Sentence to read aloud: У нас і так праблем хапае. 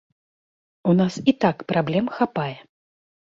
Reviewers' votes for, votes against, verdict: 2, 0, accepted